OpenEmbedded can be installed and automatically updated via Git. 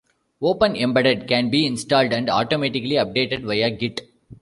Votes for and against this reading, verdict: 1, 2, rejected